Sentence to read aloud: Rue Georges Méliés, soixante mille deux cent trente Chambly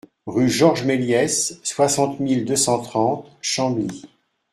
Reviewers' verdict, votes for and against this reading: accepted, 2, 0